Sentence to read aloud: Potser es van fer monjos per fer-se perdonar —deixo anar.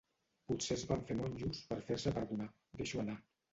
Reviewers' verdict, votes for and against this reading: rejected, 0, 2